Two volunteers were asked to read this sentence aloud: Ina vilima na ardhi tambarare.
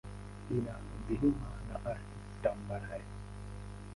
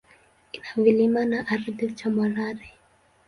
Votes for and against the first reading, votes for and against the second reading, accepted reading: 1, 6, 2, 0, second